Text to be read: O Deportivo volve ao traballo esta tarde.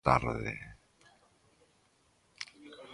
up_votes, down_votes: 0, 3